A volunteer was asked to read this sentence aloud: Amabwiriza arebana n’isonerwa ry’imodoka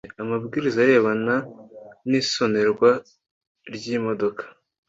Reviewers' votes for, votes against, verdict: 2, 0, accepted